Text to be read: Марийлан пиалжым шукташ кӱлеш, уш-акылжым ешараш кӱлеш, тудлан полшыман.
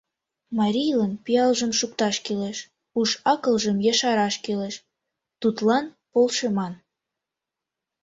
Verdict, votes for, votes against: accepted, 2, 0